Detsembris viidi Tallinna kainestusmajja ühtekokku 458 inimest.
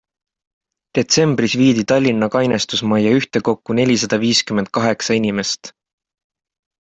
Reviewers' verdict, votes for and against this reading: rejected, 0, 2